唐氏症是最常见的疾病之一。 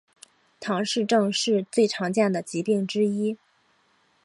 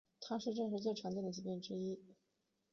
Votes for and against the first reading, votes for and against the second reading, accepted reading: 4, 0, 1, 2, first